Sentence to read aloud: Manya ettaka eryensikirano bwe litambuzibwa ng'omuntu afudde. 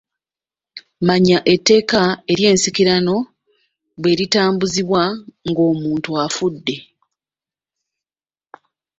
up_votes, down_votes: 0, 2